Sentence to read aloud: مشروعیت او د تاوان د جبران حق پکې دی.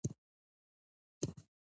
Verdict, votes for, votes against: rejected, 1, 2